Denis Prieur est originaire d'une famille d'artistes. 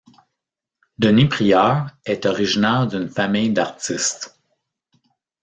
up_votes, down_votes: 0, 2